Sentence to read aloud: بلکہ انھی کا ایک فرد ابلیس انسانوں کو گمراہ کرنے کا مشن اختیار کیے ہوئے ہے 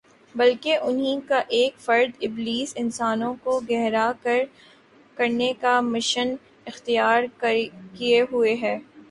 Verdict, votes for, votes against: accepted, 2, 0